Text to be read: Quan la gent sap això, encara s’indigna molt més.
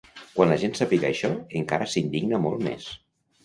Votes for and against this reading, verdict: 1, 2, rejected